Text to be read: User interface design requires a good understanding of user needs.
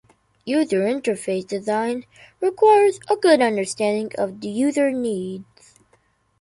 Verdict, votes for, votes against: rejected, 1, 2